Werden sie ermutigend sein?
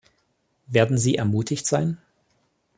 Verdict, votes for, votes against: rejected, 1, 2